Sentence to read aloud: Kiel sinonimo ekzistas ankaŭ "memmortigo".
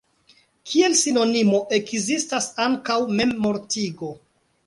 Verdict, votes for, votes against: accepted, 2, 1